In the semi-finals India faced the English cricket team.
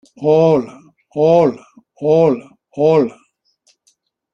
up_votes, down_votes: 0, 2